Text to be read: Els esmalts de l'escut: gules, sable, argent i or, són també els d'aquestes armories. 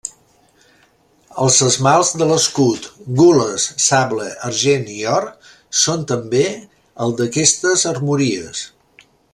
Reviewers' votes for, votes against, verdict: 0, 2, rejected